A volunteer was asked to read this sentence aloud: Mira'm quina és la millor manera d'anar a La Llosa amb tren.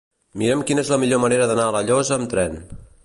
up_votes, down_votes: 2, 0